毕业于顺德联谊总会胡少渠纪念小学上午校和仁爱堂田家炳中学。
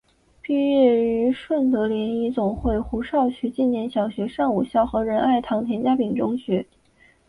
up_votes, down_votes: 8, 0